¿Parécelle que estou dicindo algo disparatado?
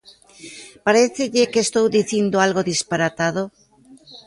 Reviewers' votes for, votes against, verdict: 2, 0, accepted